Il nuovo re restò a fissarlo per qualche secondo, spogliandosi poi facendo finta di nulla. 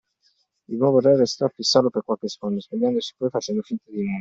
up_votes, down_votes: 2, 1